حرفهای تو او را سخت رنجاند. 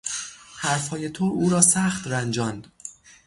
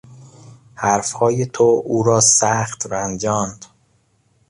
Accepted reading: second